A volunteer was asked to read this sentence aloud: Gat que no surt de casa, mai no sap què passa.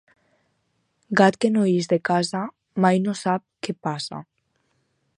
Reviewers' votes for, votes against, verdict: 2, 4, rejected